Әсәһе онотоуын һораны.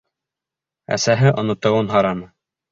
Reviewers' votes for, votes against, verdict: 3, 0, accepted